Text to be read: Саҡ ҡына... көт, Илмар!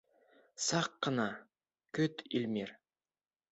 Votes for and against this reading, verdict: 0, 2, rejected